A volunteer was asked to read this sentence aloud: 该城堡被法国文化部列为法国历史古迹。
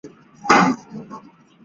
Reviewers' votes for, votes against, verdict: 0, 2, rejected